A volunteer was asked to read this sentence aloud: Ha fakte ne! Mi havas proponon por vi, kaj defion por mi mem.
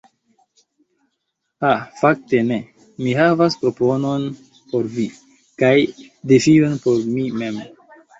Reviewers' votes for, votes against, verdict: 2, 0, accepted